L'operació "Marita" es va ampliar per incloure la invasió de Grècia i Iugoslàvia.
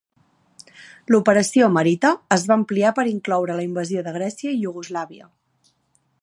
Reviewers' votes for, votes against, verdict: 5, 0, accepted